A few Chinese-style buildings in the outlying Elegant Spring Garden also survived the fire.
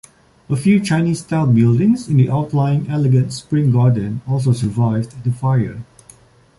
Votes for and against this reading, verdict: 2, 0, accepted